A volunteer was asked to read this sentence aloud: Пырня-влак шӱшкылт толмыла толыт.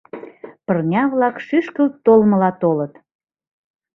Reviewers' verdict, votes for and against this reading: accepted, 2, 0